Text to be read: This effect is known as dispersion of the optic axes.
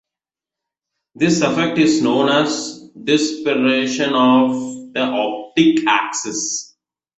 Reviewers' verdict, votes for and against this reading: rejected, 1, 2